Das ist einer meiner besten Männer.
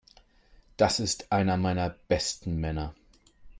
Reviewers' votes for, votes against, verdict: 3, 0, accepted